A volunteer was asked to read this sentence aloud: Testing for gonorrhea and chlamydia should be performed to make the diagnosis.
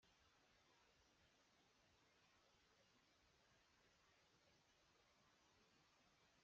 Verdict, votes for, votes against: rejected, 0, 2